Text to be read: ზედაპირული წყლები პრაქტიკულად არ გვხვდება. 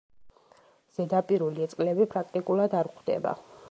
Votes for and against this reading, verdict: 0, 2, rejected